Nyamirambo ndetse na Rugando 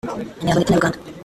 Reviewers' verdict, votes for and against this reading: rejected, 0, 2